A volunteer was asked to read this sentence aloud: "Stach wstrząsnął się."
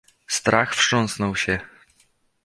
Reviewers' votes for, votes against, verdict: 1, 2, rejected